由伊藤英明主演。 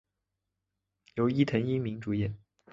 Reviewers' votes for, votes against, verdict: 3, 0, accepted